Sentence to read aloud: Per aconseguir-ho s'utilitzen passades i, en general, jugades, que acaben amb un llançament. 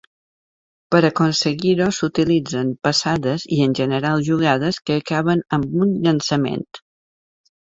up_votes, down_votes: 2, 0